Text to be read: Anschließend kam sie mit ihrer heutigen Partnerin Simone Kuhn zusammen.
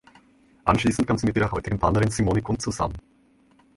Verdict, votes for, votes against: rejected, 0, 2